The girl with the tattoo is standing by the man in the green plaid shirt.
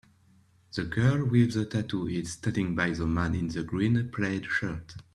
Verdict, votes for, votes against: accepted, 2, 0